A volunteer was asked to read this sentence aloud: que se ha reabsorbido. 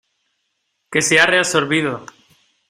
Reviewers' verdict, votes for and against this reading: accepted, 2, 0